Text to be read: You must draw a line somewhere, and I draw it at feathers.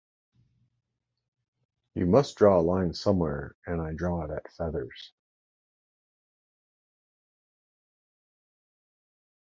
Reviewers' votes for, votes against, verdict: 2, 0, accepted